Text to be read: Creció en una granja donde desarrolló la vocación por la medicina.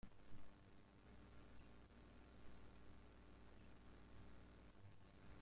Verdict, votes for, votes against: rejected, 0, 2